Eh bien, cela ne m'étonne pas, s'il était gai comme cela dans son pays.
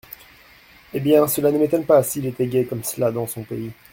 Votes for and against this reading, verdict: 1, 2, rejected